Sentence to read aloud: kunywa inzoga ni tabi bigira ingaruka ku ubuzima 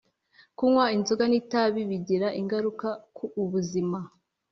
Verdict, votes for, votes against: accepted, 2, 0